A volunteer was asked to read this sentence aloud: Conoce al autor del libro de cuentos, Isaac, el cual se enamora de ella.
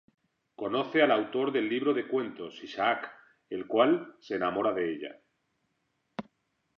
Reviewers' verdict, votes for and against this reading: accepted, 2, 0